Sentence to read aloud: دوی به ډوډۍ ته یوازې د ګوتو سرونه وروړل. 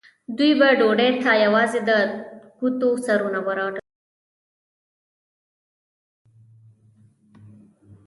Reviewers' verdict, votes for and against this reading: rejected, 1, 2